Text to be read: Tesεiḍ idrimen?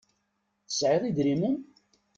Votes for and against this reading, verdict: 2, 0, accepted